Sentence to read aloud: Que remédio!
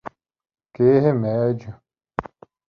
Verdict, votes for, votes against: accepted, 2, 1